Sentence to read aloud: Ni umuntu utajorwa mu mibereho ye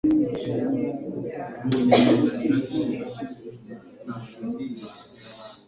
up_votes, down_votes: 1, 2